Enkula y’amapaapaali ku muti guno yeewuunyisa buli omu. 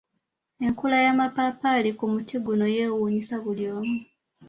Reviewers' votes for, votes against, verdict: 2, 0, accepted